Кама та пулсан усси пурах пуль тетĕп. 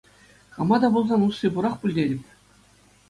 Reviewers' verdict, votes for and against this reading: accepted, 2, 0